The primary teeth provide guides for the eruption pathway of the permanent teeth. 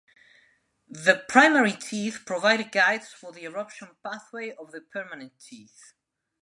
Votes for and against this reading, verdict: 2, 0, accepted